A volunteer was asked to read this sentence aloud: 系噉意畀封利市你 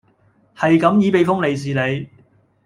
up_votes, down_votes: 2, 0